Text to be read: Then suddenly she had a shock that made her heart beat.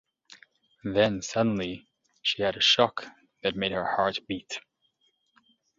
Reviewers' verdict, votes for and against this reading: accepted, 2, 0